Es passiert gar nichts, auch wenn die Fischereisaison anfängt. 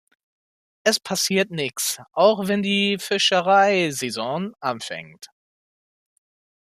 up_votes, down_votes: 0, 2